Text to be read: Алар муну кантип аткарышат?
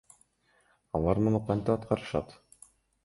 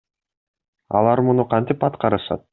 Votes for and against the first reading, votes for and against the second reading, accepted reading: 1, 2, 2, 0, second